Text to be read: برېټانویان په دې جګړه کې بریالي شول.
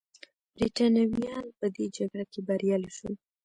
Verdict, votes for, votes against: rejected, 1, 2